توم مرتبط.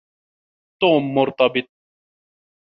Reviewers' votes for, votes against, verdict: 2, 0, accepted